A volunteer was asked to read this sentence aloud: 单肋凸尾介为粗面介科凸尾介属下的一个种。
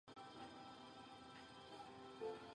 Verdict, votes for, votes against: rejected, 0, 2